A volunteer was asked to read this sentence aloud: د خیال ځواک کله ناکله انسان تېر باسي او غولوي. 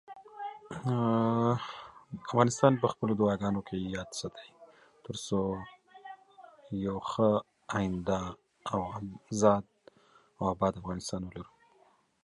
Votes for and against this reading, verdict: 0, 2, rejected